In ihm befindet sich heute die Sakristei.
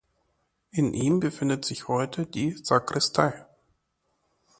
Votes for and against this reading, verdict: 2, 0, accepted